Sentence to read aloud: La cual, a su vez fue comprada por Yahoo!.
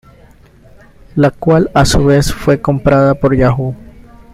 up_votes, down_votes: 2, 0